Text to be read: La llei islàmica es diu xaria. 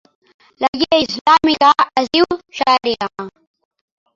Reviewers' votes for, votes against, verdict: 0, 2, rejected